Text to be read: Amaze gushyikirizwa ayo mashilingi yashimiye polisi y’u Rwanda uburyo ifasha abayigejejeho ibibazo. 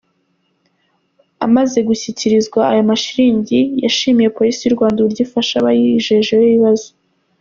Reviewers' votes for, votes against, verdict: 2, 3, rejected